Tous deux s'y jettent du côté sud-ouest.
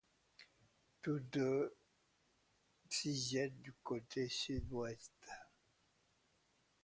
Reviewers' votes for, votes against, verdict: 1, 2, rejected